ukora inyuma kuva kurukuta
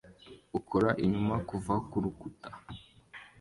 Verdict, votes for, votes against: accepted, 2, 1